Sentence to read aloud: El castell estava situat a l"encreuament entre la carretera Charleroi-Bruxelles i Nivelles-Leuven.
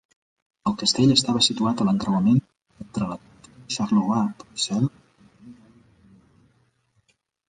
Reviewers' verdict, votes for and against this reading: rejected, 0, 2